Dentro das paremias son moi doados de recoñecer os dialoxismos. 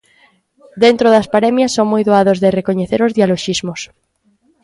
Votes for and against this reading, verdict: 2, 1, accepted